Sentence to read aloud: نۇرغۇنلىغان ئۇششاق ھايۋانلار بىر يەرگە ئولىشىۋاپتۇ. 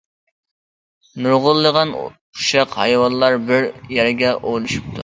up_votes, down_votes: 0, 2